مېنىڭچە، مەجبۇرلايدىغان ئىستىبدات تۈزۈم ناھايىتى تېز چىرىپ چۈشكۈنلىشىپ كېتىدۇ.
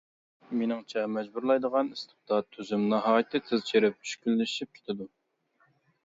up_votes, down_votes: 2, 0